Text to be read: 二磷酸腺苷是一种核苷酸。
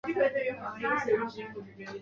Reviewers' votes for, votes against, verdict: 0, 2, rejected